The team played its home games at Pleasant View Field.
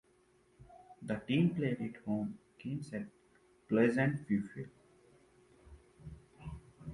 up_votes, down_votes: 0, 2